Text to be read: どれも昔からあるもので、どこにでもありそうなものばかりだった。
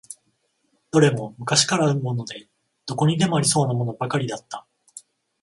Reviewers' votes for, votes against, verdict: 14, 0, accepted